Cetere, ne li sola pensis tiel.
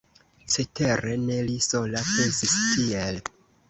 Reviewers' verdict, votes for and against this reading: rejected, 0, 2